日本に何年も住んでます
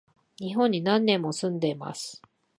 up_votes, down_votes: 8, 0